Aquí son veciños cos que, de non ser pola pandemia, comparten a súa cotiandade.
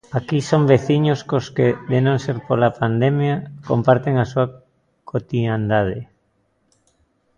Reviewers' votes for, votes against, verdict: 2, 0, accepted